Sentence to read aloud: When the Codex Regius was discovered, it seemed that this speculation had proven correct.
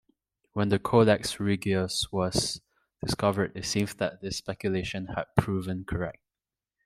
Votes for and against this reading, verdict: 2, 0, accepted